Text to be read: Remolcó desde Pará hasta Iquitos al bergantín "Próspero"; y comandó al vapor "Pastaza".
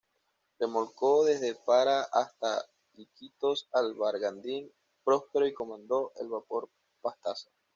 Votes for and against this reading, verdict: 2, 1, accepted